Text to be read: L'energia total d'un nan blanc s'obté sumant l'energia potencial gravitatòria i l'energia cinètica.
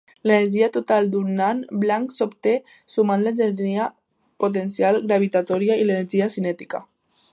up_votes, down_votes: 0, 2